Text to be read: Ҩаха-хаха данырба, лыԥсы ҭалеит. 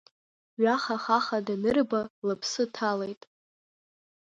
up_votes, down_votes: 2, 1